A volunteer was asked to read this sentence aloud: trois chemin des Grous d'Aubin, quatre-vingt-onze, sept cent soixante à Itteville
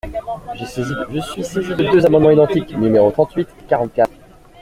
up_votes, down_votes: 0, 2